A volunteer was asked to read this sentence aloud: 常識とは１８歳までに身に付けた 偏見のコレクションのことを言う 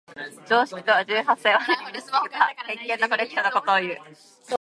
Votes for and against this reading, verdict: 0, 2, rejected